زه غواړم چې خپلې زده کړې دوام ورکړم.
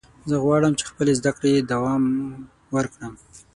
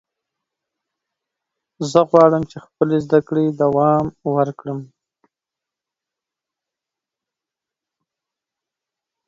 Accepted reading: second